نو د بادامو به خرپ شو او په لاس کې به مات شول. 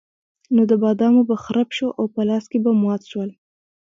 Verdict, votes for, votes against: rejected, 1, 2